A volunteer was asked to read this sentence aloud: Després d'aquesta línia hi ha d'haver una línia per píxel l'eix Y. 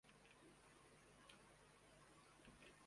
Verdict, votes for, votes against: rejected, 0, 2